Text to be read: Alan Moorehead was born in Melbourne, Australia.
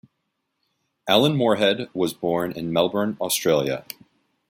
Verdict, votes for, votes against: accepted, 2, 0